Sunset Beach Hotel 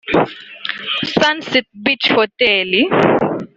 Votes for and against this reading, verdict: 1, 3, rejected